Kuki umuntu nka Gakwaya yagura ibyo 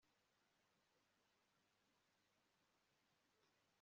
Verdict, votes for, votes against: rejected, 1, 2